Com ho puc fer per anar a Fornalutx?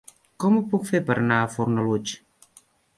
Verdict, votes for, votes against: accepted, 3, 0